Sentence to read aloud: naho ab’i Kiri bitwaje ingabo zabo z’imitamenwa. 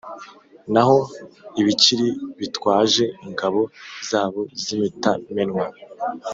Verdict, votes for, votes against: rejected, 1, 2